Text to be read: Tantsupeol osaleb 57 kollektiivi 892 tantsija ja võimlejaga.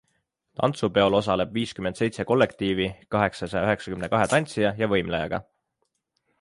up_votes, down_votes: 0, 2